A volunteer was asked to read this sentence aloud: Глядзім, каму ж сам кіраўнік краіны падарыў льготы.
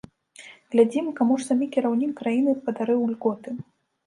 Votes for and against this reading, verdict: 0, 2, rejected